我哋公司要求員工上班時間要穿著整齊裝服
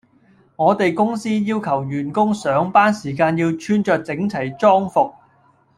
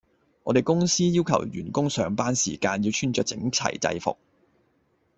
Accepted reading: first